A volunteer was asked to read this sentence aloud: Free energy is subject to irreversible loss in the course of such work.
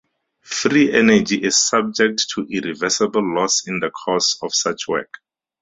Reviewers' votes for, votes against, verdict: 4, 0, accepted